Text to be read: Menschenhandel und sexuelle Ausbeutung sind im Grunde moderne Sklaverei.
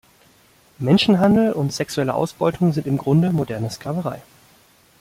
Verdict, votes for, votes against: accepted, 2, 0